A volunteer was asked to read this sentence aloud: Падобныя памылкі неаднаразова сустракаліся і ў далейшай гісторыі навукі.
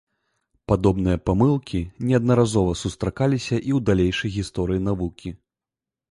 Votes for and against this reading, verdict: 2, 0, accepted